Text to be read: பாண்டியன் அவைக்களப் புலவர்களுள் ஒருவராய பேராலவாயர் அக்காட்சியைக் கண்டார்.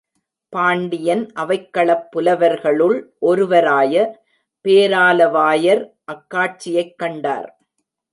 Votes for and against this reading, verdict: 1, 2, rejected